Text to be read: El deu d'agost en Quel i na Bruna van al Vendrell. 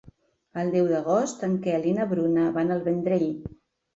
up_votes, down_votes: 3, 0